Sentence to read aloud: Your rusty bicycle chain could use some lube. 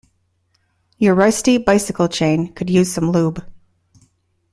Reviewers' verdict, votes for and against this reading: accepted, 2, 0